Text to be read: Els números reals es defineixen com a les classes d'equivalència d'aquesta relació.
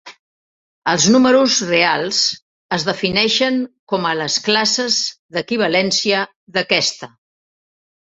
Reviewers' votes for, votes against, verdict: 0, 3, rejected